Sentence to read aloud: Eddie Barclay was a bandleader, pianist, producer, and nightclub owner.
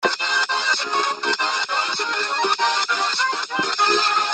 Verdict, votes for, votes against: rejected, 0, 2